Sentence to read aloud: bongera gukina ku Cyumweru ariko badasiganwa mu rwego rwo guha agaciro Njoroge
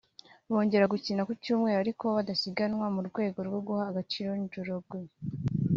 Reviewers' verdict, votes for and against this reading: accepted, 2, 0